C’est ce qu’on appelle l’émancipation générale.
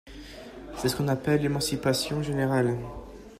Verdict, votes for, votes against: accepted, 2, 0